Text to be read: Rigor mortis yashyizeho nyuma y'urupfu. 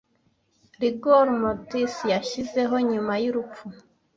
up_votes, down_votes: 1, 2